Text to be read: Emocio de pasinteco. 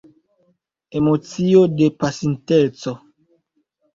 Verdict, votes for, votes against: rejected, 1, 2